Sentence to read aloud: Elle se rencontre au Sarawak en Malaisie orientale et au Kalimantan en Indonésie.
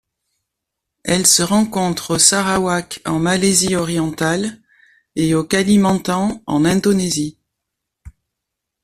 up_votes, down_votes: 2, 0